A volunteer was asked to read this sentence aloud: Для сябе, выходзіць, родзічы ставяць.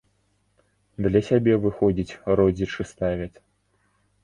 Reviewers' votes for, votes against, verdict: 2, 1, accepted